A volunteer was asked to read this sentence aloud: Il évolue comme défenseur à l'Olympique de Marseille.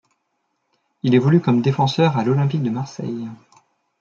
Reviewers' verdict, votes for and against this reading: accepted, 2, 0